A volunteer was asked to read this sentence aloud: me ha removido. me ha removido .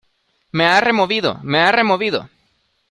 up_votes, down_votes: 2, 0